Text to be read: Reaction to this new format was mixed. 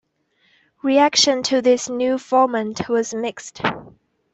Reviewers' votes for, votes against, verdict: 2, 0, accepted